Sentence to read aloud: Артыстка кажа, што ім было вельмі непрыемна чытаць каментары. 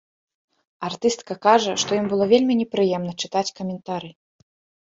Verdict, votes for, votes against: accepted, 2, 0